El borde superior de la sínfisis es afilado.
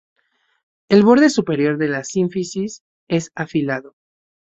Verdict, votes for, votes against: accepted, 4, 0